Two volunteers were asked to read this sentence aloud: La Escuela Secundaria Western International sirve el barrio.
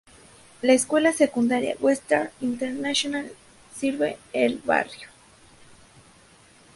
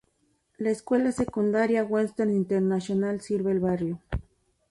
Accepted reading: first